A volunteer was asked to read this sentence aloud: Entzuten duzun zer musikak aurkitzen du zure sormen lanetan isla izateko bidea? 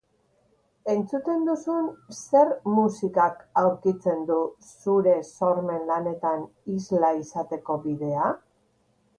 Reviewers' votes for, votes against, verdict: 3, 0, accepted